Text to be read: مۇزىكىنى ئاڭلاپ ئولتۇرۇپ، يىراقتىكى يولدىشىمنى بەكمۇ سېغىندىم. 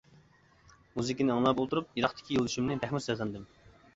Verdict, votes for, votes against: accepted, 2, 1